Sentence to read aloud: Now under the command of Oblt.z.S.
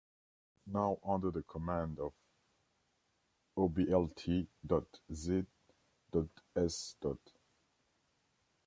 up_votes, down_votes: 2, 1